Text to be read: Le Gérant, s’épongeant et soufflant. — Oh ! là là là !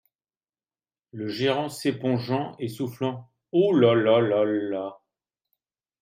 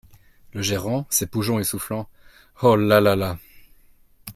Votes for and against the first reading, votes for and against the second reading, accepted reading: 1, 2, 2, 0, second